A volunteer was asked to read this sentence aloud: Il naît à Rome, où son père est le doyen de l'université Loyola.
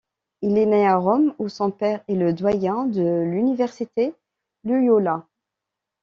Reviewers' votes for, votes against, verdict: 2, 0, accepted